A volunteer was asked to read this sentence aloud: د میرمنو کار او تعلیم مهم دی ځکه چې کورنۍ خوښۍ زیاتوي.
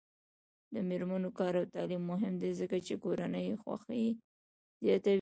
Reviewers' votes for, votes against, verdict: 0, 2, rejected